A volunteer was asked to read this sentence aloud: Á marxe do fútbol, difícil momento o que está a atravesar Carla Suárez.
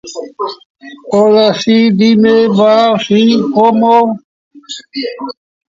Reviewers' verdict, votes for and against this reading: rejected, 0, 2